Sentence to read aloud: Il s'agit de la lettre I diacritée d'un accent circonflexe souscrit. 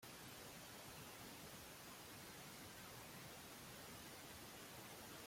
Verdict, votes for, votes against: rejected, 0, 2